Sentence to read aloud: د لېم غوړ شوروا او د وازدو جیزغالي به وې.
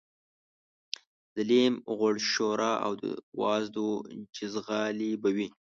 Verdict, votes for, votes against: rejected, 1, 2